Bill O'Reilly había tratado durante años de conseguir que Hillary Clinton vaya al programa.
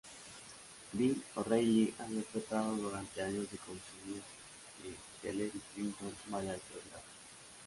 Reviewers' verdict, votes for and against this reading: rejected, 0, 2